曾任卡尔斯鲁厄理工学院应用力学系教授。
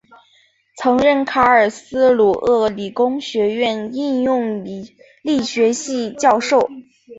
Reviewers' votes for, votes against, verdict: 3, 1, accepted